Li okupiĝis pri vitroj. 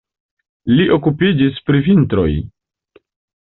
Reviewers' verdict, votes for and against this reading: accepted, 2, 0